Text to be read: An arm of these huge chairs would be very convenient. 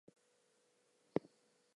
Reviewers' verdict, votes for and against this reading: rejected, 0, 4